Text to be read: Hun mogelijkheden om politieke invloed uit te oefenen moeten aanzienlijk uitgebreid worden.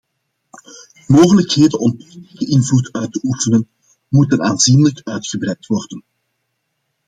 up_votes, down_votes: 1, 2